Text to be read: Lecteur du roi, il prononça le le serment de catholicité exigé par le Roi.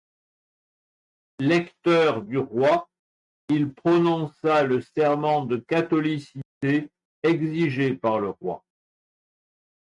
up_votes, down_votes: 0, 2